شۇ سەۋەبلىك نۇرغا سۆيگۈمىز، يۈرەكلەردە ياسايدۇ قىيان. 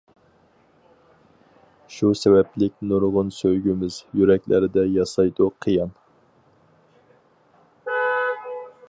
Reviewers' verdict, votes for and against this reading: rejected, 2, 2